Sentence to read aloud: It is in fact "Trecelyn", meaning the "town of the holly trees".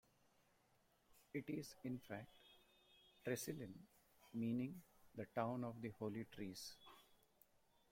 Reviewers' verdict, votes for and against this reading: rejected, 1, 2